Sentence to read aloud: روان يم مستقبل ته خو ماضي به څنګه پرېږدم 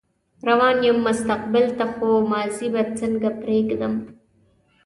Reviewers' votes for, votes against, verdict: 2, 0, accepted